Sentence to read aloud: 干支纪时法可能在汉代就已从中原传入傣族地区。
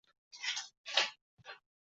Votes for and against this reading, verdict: 2, 6, rejected